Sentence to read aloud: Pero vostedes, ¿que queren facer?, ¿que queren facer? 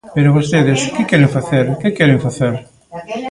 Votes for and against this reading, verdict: 1, 2, rejected